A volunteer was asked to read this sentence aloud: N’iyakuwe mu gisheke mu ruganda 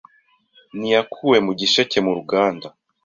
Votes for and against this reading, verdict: 2, 0, accepted